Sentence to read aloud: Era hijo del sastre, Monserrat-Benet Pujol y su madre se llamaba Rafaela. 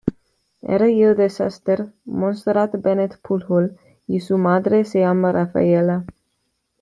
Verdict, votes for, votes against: rejected, 1, 2